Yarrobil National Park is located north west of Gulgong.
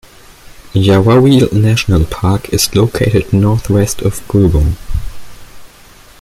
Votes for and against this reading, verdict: 0, 2, rejected